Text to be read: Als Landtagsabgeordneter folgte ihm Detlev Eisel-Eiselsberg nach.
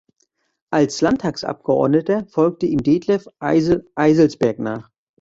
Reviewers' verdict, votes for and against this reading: accepted, 2, 0